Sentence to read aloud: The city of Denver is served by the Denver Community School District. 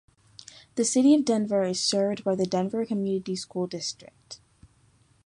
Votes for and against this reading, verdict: 3, 0, accepted